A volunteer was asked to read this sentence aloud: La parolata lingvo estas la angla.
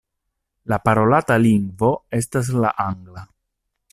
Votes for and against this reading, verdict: 2, 0, accepted